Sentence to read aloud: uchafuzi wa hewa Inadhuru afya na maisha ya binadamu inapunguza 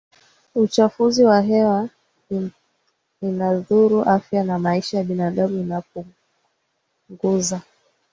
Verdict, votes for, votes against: accepted, 3, 1